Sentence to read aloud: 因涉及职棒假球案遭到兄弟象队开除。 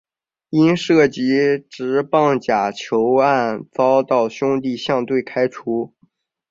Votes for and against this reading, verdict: 5, 0, accepted